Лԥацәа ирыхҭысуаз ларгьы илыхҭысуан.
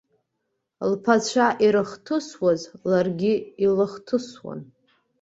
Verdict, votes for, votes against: accepted, 2, 0